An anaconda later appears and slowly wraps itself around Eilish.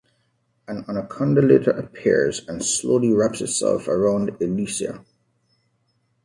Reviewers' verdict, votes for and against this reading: rejected, 0, 2